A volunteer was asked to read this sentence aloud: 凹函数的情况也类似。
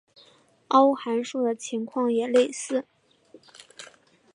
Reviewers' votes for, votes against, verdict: 2, 0, accepted